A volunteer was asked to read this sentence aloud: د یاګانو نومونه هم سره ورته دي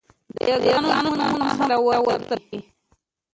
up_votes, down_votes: 2, 1